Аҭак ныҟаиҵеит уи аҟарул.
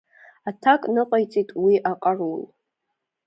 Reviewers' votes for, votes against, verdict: 2, 0, accepted